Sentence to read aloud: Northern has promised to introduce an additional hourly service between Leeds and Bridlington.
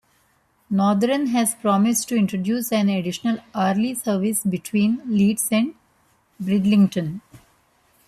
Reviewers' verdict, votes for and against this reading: accepted, 2, 0